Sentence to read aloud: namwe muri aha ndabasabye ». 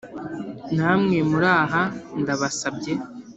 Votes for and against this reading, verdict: 2, 1, accepted